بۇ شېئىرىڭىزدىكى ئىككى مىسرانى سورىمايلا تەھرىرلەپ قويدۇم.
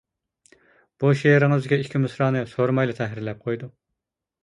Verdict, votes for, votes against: accepted, 2, 0